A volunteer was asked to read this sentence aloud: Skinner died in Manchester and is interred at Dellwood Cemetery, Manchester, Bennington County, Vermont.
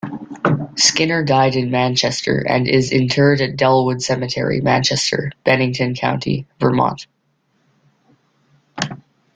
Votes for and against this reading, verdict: 2, 0, accepted